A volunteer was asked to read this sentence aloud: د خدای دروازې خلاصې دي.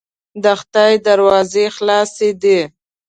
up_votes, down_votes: 2, 1